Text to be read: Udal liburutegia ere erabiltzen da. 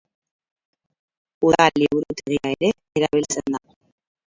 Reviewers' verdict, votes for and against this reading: rejected, 2, 4